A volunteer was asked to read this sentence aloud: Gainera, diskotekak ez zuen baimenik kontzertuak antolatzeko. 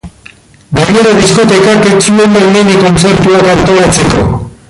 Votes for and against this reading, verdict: 0, 2, rejected